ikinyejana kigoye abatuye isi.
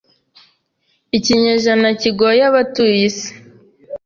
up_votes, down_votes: 2, 0